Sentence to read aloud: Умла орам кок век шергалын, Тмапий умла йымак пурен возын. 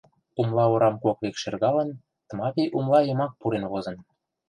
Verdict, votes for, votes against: rejected, 1, 2